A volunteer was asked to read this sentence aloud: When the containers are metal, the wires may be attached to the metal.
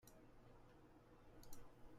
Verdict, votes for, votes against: rejected, 0, 2